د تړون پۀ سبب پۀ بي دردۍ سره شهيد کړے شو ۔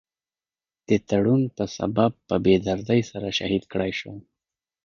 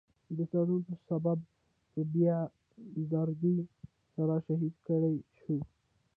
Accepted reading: first